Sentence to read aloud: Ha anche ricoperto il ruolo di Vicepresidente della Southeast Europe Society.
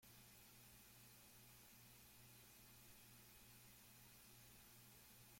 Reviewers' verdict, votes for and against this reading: rejected, 0, 2